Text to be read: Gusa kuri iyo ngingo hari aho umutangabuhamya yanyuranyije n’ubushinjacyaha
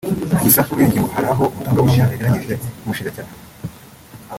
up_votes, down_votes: 1, 3